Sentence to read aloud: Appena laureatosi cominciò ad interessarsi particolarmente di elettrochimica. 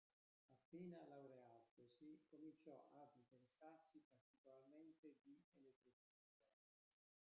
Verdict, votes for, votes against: rejected, 0, 2